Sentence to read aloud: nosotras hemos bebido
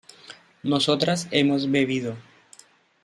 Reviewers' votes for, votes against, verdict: 2, 0, accepted